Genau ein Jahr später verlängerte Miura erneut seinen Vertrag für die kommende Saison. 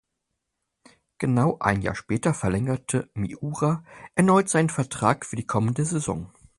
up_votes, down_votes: 4, 0